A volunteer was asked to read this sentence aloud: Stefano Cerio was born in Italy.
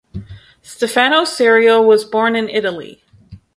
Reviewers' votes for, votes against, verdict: 0, 2, rejected